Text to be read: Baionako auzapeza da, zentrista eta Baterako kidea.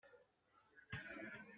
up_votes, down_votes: 0, 2